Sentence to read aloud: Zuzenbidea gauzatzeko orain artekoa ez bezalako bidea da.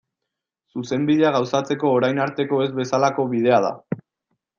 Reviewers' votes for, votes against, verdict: 1, 2, rejected